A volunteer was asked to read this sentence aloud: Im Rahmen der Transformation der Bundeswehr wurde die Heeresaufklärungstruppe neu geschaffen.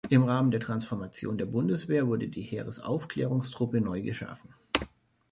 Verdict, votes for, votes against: accepted, 2, 0